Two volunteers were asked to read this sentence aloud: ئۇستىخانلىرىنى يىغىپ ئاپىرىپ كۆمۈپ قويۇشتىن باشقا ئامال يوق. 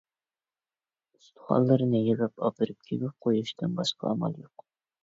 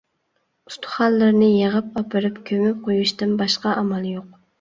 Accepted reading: second